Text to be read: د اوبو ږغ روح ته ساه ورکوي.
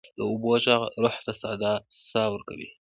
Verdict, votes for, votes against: rejected, 1, 2